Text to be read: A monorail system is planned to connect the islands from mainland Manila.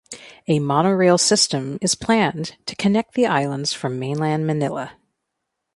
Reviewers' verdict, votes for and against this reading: accepted, 2, 0